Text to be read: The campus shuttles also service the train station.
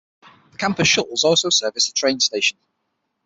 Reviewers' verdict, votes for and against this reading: rejected, 3, 6